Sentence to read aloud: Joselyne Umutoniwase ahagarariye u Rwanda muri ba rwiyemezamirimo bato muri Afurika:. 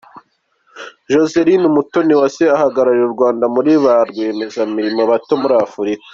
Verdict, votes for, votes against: accepted, 2, 0